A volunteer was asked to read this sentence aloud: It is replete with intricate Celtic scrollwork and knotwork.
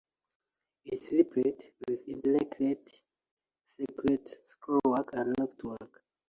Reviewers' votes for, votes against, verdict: 0, 2, rejected